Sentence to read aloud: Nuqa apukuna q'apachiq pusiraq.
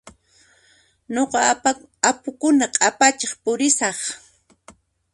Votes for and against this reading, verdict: 2, 1, accepted